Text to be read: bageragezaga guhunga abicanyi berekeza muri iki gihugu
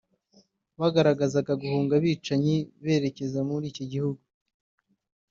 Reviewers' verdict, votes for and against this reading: rejected, 1, 2